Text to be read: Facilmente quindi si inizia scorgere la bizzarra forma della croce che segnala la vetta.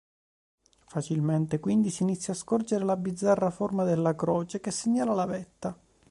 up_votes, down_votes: 2, 1